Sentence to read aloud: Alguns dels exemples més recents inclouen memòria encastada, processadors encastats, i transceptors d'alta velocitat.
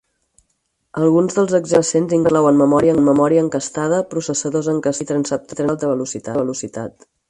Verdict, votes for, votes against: rejected, 0, 4